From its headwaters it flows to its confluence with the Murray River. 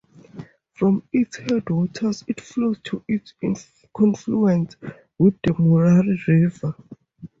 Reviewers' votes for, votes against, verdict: 0, 6, rejected